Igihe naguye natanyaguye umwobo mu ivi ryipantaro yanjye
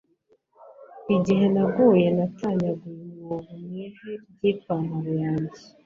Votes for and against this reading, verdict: 1, 2, rejected